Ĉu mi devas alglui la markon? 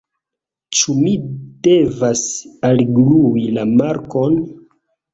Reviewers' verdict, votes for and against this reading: accepted, 2, 0